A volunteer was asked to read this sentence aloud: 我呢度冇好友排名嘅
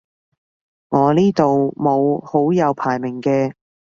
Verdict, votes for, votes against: accepted, 2, 0